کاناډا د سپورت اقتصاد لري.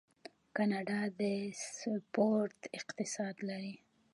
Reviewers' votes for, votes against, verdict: 0, 2, rejected